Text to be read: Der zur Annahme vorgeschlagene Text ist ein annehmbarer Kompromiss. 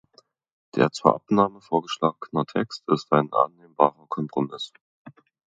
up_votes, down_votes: 1, 2